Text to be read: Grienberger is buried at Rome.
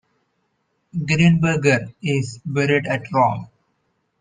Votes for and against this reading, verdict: 2, 0, accepted